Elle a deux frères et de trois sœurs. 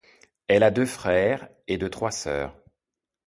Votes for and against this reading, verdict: 2, 0, accepted